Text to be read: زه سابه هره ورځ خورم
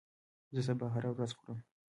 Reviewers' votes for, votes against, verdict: 1, 2, rejected